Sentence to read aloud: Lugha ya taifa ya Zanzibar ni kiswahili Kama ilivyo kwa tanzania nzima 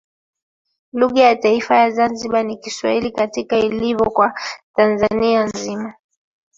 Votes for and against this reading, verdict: 1, 2, rejected